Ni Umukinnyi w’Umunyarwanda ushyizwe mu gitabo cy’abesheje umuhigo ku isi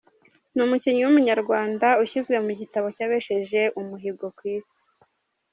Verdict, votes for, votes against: accepted, 2, 0